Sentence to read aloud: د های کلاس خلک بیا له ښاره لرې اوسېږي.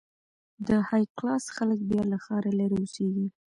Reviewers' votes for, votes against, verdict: 1, 2, rejected